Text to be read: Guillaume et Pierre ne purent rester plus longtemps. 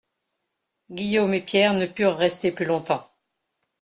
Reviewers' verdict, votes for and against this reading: accepted, 2, 0